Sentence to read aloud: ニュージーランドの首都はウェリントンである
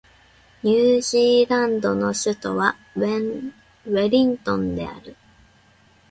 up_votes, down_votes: 2, 0